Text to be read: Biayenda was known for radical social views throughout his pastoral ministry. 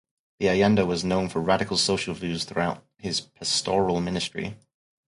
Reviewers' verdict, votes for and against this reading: accepted, 4, 0